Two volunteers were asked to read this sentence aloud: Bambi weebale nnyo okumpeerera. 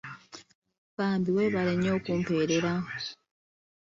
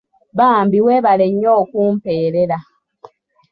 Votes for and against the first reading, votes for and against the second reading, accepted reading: 1, 2, 2, 0, second